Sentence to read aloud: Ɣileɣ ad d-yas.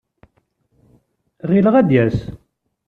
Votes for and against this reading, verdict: 2, 0, accepted